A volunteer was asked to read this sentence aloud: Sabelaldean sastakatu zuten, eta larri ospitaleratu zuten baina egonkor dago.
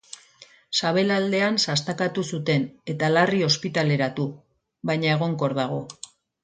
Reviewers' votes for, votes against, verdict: 0, 2, rejected